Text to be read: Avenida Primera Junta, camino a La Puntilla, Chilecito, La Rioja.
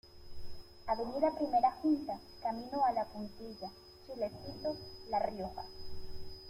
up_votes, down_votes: 1, 2